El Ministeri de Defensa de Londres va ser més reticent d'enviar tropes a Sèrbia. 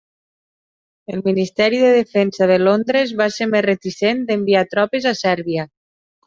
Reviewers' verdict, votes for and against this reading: accepted, 3, 0